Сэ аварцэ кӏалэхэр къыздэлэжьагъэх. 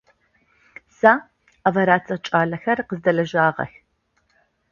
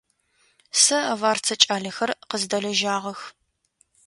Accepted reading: second